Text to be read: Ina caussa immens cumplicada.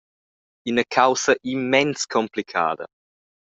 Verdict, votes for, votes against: accepted, 2, 0